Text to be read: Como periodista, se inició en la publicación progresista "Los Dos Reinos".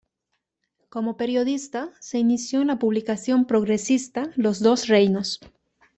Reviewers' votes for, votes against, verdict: 2, 0, accepted